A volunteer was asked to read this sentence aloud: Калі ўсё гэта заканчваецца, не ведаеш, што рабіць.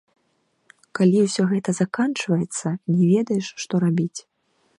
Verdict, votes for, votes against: rejected, 0, 2